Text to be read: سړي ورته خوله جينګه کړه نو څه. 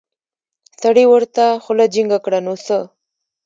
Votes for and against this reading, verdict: 2, 1, accepted